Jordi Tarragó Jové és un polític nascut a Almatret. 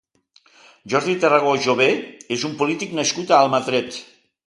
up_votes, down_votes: 2, 0